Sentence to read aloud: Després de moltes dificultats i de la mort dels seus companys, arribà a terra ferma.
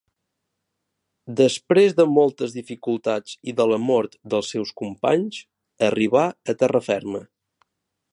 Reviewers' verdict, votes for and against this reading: accepted, 3, 0